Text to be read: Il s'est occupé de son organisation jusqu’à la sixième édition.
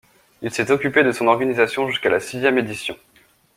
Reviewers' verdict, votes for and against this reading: accepted, 2, 0